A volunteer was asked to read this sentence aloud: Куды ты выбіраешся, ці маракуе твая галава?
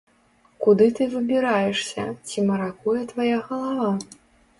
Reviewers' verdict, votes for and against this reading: rejected, 1, 2